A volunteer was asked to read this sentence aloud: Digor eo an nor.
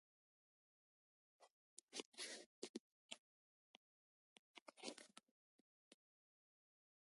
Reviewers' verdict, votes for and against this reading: rejected, 0, 2